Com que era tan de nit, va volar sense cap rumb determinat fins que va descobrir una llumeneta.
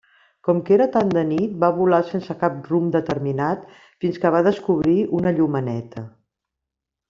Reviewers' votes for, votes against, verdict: 3, 0, accepted